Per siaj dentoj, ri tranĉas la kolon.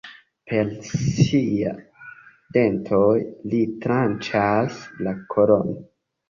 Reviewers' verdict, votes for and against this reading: rejected, 0, 2